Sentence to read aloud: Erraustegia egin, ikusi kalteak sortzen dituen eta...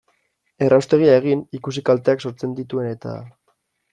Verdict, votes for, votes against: accepted, 2, 0